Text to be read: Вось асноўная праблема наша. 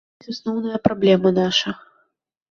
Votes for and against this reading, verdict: 0, 2, rejected